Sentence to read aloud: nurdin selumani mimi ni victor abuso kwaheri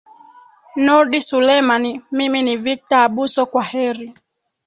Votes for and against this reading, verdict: 2, 4, rejected